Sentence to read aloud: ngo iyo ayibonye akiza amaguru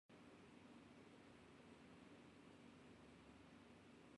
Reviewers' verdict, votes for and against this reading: rejected, 0, 2